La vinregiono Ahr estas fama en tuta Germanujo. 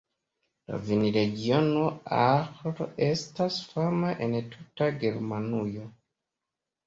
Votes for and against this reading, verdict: 2, 0, accepted